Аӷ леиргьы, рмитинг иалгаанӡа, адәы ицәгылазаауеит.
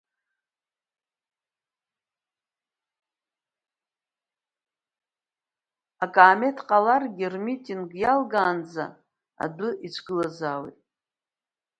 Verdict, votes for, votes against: rejected, 0, 2